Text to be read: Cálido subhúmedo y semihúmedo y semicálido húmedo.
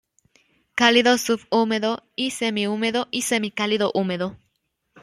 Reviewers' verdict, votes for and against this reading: accepted, 2, 0